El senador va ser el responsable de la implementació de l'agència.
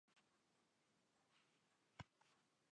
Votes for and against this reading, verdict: 0, 3, rejected